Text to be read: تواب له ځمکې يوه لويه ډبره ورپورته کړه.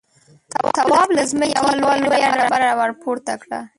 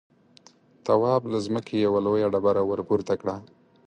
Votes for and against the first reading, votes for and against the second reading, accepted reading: 0, 2, 4, 0, second